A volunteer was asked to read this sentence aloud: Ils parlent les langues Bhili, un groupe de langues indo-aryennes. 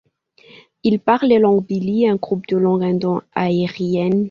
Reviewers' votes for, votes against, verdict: 1, 2, rejected